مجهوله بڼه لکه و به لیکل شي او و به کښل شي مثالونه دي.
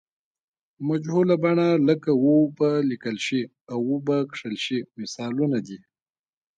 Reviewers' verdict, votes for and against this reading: rejected, 0, 2